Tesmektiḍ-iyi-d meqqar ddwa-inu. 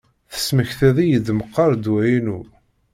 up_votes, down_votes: 2, 0